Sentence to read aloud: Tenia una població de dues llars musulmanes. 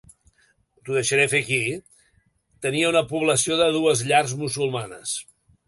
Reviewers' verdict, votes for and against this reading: rejected, 0, 2